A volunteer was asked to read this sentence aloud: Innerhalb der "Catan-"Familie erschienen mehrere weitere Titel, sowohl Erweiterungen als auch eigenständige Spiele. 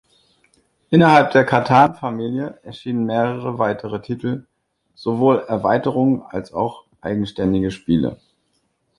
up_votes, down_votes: 2, 0